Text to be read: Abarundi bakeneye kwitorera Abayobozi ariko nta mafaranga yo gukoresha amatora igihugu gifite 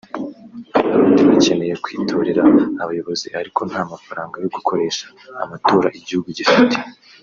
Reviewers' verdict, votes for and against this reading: accepted, 2, 0